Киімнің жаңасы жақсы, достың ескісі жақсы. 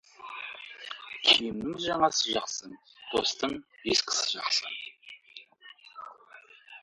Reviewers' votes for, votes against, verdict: 0, 2, rejected